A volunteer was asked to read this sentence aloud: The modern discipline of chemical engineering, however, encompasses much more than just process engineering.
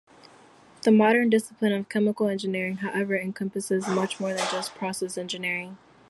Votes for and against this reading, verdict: 2, 0, accepted